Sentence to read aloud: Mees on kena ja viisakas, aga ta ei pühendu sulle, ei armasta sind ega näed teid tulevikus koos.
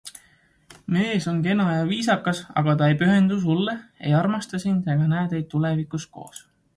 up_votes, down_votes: 2, 0